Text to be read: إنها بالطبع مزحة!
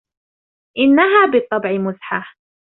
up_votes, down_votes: 3, 0